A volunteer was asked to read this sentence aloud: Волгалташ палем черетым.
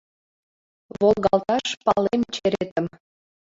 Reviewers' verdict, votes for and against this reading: rejected, 1, 2